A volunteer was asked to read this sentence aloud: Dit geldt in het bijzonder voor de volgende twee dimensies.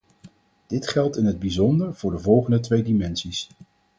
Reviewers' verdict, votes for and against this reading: accepted, 4, 0